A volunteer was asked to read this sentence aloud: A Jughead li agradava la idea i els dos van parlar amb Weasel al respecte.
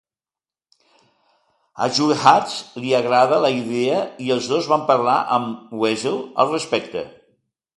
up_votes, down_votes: 0, 3